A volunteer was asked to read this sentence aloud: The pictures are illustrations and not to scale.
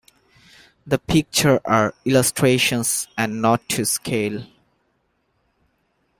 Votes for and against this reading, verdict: 1, 2, rejected